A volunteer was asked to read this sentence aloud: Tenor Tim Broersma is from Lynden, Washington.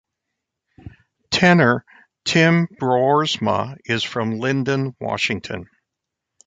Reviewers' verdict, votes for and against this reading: accepted, 2, 0